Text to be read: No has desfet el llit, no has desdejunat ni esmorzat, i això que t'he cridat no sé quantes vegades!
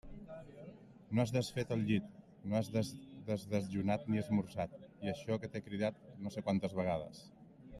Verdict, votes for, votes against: rejected, 0, 2